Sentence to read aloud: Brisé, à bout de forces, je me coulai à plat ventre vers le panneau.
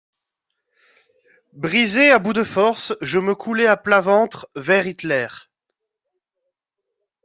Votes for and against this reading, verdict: 0, 2, rejected